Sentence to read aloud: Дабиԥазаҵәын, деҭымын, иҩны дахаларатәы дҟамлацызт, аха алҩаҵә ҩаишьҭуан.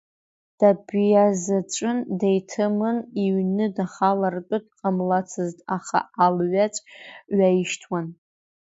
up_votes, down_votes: 2, 1